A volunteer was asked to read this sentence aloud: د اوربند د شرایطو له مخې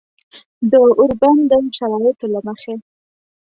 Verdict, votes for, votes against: accepted, 2, 0